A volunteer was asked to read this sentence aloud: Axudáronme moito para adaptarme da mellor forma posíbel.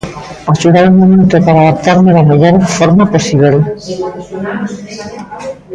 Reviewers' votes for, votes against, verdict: 1, 2, rejected